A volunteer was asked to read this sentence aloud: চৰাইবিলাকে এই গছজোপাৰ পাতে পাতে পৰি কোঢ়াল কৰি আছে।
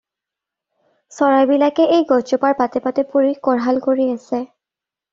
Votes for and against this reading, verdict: 2, 0, accepted